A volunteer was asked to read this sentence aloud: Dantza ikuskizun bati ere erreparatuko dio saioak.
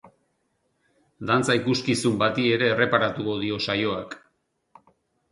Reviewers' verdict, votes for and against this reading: accepted, 4, 0